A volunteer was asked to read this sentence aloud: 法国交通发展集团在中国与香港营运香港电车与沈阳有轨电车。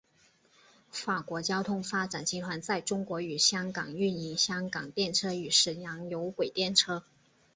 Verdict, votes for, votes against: accepted, 2, 0